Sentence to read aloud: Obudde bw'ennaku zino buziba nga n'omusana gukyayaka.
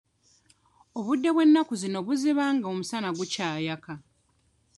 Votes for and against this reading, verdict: 1, 2, rejected